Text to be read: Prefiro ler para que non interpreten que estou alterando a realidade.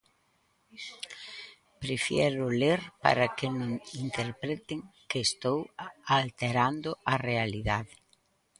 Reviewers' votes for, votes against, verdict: 0, 4, rejected